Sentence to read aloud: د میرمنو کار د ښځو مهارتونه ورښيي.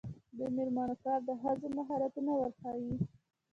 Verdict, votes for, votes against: accepted, 2, 0